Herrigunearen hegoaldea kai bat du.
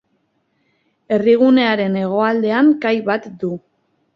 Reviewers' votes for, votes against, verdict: 0, 2, rejected